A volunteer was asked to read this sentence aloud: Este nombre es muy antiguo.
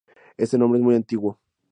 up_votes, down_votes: 2, 0